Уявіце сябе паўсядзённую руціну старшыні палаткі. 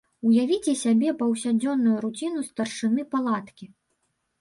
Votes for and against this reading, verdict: 1, 2, rejected